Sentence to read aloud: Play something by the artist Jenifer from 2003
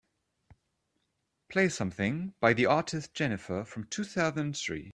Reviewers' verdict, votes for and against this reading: rejected, 0, 2